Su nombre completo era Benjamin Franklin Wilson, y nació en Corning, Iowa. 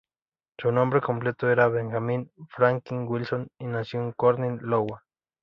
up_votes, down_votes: 0, 2